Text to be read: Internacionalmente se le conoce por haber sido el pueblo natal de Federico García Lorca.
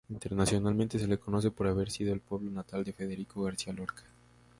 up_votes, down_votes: 0, 2